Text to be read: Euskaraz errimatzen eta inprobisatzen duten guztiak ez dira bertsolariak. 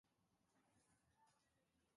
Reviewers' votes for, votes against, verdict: 0, 3, rejected